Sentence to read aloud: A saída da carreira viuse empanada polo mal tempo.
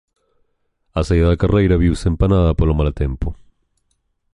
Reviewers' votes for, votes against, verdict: 2, 0, accepted